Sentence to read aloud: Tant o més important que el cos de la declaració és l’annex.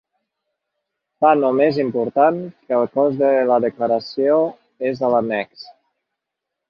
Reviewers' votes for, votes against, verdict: 1, 2, rejected